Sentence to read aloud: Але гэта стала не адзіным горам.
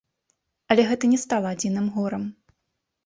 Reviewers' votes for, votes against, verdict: 0, 2, rejected